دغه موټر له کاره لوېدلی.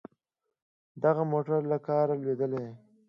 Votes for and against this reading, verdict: 2, 0, accepted